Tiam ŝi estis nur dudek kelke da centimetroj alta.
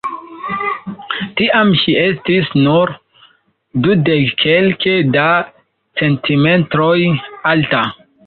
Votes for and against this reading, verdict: 0, 2, rejected